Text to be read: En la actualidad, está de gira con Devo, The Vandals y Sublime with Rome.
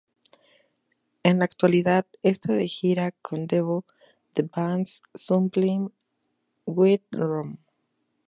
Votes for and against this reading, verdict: 0, 2, rejected